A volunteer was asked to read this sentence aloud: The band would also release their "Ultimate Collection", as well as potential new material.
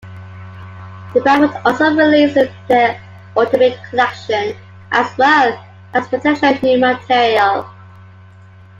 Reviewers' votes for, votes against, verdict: 1, 2, rejected